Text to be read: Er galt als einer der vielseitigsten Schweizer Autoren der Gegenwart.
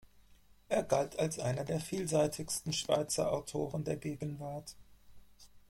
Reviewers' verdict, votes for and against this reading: accepted, 4, 2